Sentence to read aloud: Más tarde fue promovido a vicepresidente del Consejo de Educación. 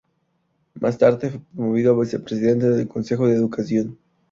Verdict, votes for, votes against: accepted, 2, 0